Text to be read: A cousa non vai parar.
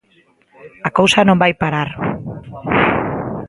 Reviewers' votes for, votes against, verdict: 1, 2, rejected